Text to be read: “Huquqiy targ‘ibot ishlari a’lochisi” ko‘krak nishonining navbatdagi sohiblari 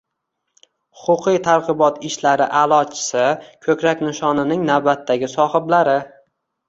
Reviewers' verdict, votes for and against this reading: accepted, 2, 0